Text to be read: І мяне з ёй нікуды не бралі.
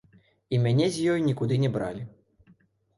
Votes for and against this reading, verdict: 2, 1, accepted